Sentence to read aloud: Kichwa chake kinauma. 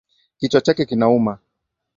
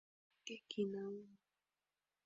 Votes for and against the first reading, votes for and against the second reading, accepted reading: 2, 1, 0, 2, first